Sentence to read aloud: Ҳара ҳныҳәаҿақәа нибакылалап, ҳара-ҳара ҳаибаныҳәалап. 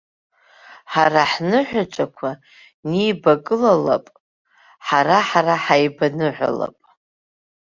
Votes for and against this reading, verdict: 2, 1, accepted